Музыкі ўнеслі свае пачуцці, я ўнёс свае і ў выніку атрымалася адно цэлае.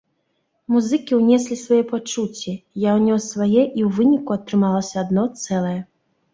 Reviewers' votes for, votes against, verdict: 2, 0, accepted